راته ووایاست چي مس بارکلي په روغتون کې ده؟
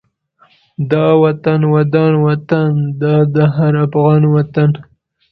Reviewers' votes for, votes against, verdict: 0, 2, rejected